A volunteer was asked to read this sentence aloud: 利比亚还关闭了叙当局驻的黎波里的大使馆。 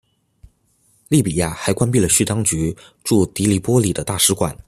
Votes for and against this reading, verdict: 2, 0, accepted